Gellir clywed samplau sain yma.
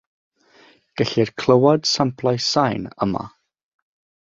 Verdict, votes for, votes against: accepted, 3, 0